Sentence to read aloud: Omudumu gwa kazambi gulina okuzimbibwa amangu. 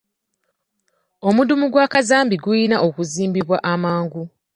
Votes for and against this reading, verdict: 2, 1, accepted